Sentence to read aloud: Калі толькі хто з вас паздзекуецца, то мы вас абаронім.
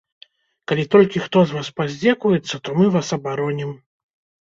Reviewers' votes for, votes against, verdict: 2, 0, accepted